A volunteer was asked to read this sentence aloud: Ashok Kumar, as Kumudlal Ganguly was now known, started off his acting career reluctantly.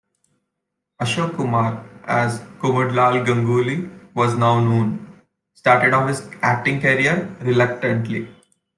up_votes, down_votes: 1, 2